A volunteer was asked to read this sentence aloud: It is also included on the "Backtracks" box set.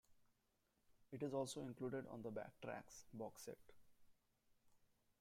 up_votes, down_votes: 0, 2